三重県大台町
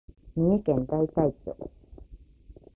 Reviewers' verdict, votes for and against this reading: accepted, 2, 0